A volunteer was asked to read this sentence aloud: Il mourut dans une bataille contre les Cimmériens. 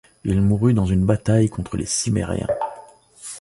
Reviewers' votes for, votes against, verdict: 1, 2, rejected